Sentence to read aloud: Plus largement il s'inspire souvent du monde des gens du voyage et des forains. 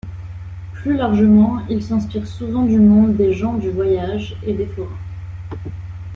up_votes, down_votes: 2, 0